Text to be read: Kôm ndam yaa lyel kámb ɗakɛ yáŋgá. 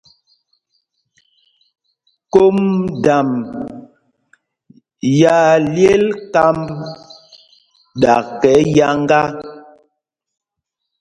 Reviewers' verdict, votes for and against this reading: accepted, 2, 0